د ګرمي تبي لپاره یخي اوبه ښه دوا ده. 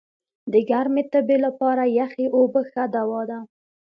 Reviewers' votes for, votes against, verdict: 2, 0, accepted